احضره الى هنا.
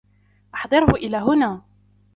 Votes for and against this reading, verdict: 2, 0, accepted